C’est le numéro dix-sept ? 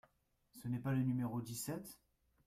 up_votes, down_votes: 0, 2